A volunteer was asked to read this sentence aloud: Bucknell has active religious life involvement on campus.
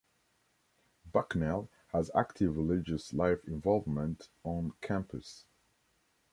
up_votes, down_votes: 3, 0